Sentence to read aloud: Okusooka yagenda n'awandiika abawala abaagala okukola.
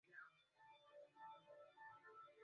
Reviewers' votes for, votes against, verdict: 1, 2, rejected